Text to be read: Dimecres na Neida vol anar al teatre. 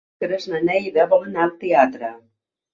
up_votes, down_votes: 1, 2